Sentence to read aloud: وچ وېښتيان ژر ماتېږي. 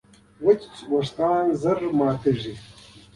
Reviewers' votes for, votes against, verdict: 2, 0, accepted